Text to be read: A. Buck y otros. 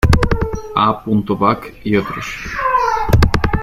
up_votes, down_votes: 1, 2